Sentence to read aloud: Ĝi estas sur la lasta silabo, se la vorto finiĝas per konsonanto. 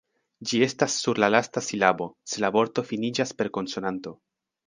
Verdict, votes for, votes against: accepted, 2, 0